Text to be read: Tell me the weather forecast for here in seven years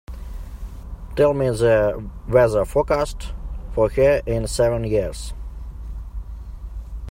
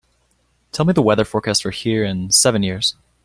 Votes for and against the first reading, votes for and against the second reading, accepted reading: 0, 2, 2, 0, second